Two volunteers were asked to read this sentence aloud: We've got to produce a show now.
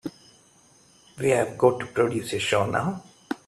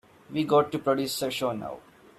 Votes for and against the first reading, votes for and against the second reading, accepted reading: 0, 2, 2, 0, second